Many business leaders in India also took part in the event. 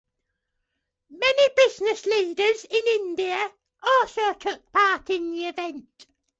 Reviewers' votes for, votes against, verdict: 2, 1, accepted